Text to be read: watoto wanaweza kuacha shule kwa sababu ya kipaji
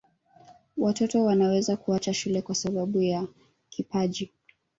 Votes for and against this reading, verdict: 0, 2, rejected